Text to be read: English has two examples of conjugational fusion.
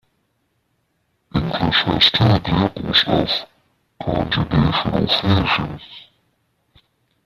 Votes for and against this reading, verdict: 0, 3, rejected